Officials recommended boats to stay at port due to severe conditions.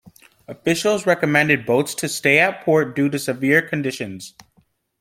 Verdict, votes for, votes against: accepted, 2, 0